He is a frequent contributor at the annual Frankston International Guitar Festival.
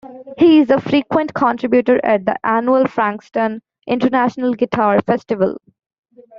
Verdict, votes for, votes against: rejected, 1, 2